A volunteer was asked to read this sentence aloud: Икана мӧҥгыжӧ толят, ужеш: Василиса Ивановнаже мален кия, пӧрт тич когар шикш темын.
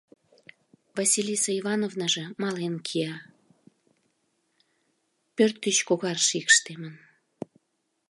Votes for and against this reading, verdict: 0, 2, rejected